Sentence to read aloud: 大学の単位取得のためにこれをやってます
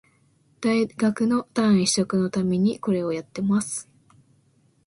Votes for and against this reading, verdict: 2, 0, accepted